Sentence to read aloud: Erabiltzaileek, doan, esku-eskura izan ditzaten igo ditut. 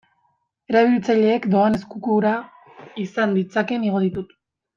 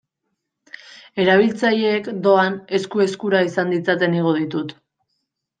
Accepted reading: second